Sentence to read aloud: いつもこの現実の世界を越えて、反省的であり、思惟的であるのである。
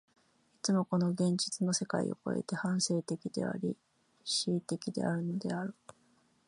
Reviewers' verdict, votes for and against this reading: accepted, 2, 0